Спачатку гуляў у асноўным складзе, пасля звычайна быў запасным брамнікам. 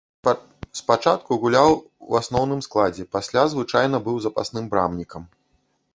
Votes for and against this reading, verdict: 0, 2, rejected